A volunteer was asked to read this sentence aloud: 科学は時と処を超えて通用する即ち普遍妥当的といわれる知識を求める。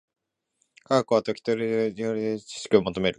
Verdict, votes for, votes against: rejected, 1, 2